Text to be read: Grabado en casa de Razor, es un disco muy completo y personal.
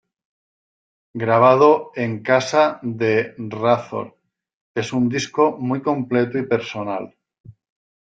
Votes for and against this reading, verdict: 2, 1, accepted